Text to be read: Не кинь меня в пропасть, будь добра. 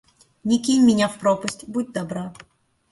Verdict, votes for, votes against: accepted, 2, 0